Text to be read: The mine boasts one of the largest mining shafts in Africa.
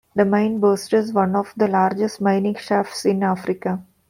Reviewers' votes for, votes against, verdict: 2, 0, accepted